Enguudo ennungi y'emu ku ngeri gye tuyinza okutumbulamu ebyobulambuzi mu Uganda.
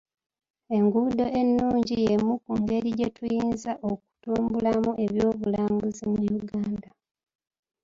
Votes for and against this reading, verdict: 0, 2, rejected